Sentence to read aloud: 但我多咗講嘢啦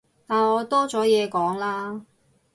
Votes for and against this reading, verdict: 0, 2, rejected